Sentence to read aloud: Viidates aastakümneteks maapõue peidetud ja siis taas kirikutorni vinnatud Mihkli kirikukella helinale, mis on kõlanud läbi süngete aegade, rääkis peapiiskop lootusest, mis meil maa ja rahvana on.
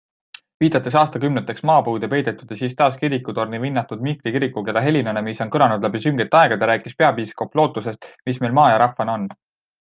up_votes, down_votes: 2, 0